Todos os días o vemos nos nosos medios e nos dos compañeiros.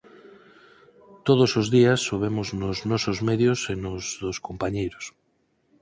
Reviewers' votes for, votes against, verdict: 4, 0, accepted